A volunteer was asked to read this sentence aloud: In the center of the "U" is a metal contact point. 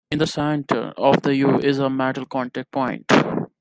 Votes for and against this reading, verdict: 2, 0, accepted